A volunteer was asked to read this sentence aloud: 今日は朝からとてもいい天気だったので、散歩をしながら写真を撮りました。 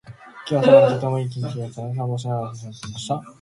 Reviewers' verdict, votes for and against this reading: rejected, 0, 2